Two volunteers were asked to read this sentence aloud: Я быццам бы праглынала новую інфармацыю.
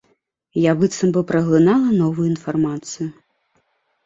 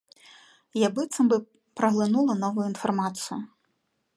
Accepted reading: first